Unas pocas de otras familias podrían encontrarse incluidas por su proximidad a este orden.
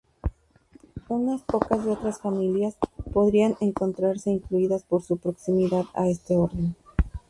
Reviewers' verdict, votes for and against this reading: accepted, 2, 0